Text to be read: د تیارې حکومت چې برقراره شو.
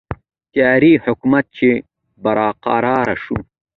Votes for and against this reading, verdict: 2, 0, accepted